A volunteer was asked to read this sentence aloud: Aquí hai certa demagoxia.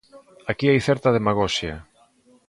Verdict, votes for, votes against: accepted, 2, 0